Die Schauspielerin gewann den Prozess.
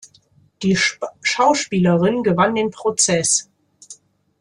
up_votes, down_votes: 0, 2